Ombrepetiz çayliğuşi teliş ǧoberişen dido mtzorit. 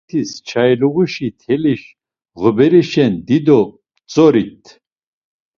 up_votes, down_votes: 0, 2